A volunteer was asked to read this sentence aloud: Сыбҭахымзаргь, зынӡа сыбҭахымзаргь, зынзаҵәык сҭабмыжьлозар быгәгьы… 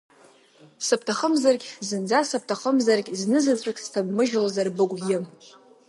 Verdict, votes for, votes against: accepted, 2, 0